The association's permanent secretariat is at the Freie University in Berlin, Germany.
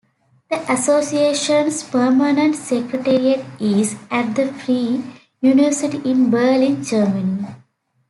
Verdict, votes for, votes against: accepted, 2, 1